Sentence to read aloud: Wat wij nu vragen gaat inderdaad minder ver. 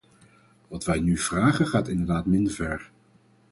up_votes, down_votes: 4, 0